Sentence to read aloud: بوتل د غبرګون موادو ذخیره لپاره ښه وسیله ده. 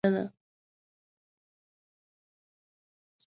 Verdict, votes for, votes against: rejected, 0, 2